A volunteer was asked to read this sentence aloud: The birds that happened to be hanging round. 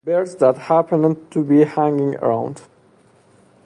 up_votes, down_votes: 0, 2